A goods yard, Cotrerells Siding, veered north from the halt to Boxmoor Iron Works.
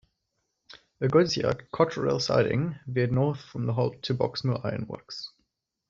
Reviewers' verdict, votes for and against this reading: rejected, 0, 2